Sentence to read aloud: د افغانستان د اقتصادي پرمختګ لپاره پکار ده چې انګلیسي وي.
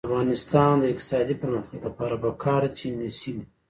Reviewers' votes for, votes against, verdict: 0, 2, rejected